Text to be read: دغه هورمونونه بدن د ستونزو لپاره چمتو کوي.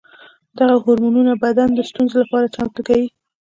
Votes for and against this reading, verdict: 2, 0, accepted